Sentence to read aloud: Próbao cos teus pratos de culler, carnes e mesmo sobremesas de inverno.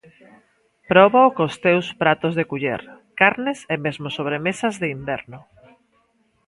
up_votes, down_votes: 2, 0